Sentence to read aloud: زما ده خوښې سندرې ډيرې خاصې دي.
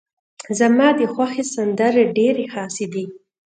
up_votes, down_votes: 2, 0